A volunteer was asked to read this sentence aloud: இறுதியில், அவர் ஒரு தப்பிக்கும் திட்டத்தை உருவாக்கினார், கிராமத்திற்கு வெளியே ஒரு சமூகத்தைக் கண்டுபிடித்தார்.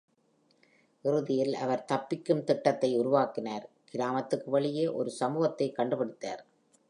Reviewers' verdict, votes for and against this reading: rejected, 1, 2